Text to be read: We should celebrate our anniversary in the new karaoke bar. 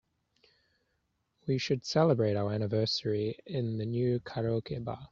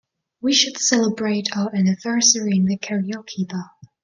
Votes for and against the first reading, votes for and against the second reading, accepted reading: 3, 0, 0, 2, first